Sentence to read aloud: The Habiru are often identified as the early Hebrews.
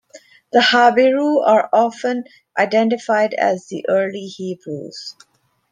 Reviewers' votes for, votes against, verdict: 2, 1, accepted